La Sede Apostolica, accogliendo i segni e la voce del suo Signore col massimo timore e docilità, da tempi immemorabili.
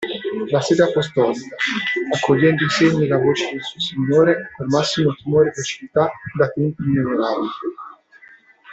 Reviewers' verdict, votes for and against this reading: rejected, 0, 2